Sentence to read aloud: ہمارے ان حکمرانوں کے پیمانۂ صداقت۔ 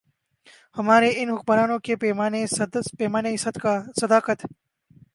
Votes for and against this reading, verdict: 0, 2, rejected